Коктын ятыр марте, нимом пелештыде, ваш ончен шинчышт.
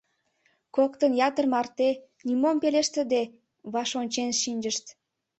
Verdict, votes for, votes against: accepted, 3, 0